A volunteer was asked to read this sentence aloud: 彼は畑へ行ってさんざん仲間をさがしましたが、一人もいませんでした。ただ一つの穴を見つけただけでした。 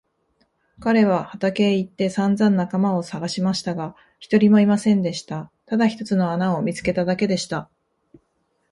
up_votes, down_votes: 2, 3